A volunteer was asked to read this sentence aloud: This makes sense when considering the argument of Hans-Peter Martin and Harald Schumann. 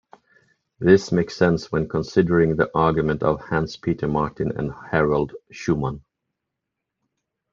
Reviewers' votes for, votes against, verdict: 2, 0, accepted